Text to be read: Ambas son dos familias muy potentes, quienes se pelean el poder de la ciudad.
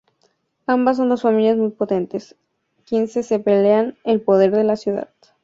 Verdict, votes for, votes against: accepted, 2, 0